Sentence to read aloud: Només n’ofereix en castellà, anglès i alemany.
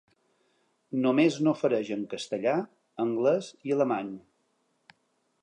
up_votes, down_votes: 3, 0